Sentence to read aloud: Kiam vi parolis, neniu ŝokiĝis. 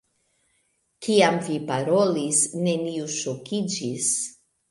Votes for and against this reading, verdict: 2, 0, accepted